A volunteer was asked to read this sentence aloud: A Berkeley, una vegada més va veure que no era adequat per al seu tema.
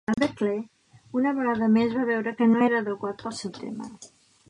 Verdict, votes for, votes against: rejected, 1, 2